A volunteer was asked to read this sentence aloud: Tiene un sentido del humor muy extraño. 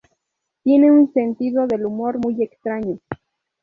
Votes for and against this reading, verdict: 0, 2, rejected